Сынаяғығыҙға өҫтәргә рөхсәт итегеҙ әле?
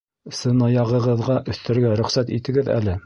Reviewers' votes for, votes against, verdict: 2, 0, accepted